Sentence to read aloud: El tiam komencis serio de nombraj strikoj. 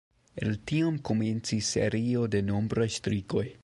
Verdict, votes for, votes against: rejected, 0, 2